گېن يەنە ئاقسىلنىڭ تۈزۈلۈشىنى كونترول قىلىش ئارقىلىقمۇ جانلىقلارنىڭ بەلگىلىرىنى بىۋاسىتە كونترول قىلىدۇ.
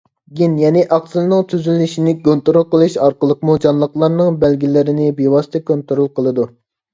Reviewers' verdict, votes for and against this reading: accepted, 2, 0